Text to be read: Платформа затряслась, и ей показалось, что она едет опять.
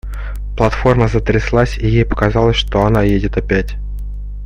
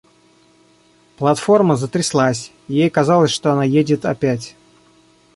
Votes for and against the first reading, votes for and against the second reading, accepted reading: 2, 0, 1, 2, first